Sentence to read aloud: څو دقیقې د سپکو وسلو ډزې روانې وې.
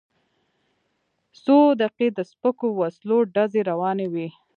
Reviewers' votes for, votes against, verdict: 2, 1, accepted